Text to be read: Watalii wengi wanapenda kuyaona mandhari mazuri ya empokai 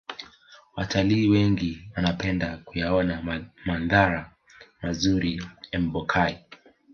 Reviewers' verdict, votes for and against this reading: accepted, 2, 1